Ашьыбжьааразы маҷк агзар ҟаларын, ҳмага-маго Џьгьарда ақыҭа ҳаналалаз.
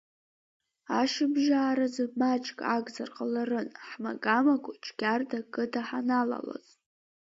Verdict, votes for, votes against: accepted, 4, 2